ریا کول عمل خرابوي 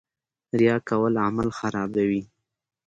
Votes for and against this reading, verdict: 2, 0, accepted